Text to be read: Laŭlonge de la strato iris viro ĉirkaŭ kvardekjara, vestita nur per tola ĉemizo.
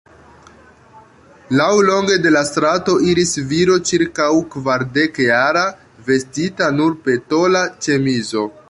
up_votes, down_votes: 1, 2